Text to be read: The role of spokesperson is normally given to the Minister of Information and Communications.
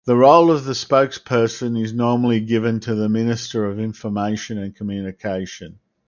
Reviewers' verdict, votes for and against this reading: rejected, 0, 2